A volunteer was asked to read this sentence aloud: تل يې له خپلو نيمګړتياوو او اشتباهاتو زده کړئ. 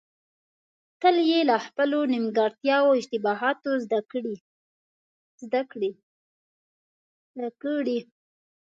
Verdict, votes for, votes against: rejected, 0, 2